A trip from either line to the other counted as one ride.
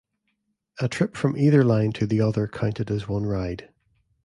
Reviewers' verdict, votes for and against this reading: accepted, 2, 0